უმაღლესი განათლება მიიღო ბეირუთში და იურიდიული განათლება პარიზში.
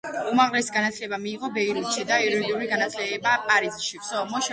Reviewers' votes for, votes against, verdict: 1, 2, rejected